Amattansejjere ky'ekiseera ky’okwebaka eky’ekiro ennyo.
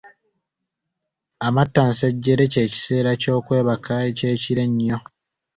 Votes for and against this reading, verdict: 2, 1, accepted